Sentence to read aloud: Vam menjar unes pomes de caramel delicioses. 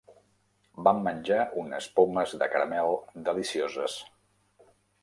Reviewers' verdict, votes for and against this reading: accepted, 3, 0